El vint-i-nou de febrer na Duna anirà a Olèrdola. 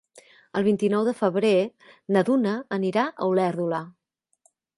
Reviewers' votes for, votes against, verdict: 3, 0, accepted